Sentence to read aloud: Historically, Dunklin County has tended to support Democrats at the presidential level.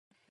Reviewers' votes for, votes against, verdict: 0, 2, rejected